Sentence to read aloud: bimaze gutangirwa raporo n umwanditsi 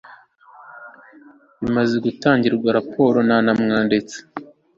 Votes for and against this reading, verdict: 1, 2, rejected